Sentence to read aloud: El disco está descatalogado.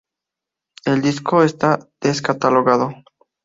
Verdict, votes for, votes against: accepted, 2, 0